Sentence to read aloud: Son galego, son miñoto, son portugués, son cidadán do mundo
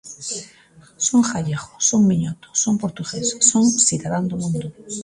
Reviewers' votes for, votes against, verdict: 1, 2, rejected